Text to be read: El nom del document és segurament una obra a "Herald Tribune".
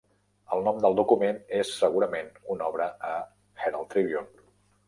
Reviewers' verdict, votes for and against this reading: accepted, 3, 0